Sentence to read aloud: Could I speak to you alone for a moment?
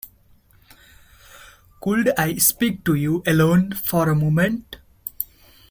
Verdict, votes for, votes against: accepted, 2, 0